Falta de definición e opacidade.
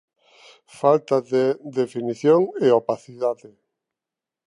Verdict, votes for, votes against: accepted, 2, 0